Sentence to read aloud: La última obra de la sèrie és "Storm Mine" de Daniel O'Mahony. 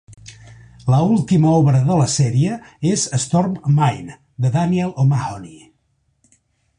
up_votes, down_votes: 2, 0